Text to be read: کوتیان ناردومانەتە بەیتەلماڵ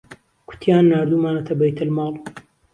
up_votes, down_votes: 2, 0